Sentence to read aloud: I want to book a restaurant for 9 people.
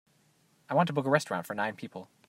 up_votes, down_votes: 0, 2